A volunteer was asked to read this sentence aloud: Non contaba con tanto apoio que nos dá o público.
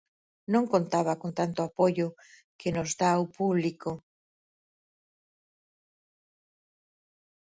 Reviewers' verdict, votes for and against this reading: accepted, 4, 0